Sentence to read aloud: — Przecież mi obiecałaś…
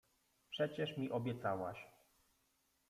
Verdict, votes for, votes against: rejected, 1, 2